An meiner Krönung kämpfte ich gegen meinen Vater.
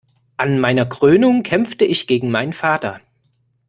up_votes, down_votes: 2, 0